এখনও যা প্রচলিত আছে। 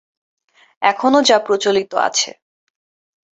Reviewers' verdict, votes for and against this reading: accepted, 13, 0